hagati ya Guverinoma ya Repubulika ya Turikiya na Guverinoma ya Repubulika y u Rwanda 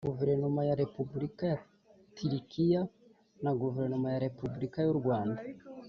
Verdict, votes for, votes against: rejected, 1, 2